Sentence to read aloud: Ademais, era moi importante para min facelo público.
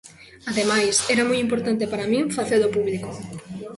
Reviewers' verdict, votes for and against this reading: accepted, 2, 0